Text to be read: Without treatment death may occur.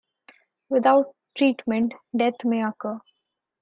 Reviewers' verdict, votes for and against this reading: accepted, 2, 0